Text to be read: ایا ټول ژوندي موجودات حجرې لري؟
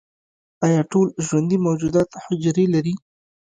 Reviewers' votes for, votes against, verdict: 2, 0, accepted